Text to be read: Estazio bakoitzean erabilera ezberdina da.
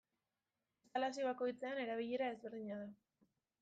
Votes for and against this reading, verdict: 0, 2, rejected